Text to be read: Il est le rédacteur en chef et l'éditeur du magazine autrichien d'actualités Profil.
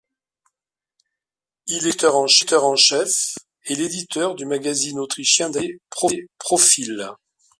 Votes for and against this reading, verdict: 0, 2, rejected